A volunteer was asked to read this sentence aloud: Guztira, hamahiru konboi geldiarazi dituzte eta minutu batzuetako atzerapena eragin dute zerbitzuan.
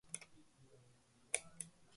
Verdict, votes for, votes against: rejected, 0, 2